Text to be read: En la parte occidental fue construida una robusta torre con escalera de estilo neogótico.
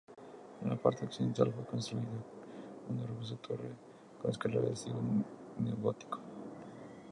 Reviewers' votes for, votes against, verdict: 0, 2, rejected